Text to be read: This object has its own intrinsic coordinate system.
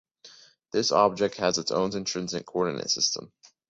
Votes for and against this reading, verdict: 2, 0, accepted